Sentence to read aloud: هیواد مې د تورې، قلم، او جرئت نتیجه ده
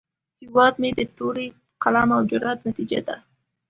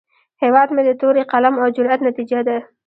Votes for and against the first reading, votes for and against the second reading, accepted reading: 2, 0, 1, 2, first